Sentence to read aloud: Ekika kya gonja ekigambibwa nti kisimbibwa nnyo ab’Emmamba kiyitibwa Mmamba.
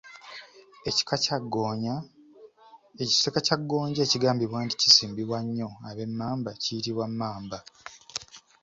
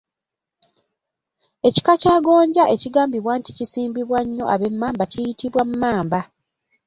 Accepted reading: second